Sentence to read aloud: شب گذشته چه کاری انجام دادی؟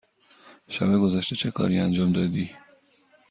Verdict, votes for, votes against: accepted, 2, 0